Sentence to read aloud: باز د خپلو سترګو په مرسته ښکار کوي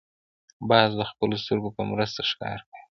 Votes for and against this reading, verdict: 0, 2, rejected